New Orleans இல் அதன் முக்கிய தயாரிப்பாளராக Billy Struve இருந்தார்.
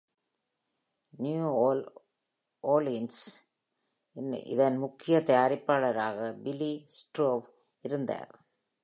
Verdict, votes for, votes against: rejected, 0, 2